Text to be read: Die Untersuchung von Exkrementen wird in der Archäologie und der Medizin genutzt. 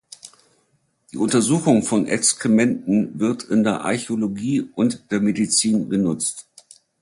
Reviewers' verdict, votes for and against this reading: accepted, 4, 0